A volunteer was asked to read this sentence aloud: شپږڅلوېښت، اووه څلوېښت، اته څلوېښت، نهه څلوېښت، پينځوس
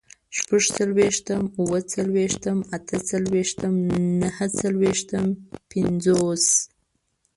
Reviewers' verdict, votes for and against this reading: rejected, 1, 2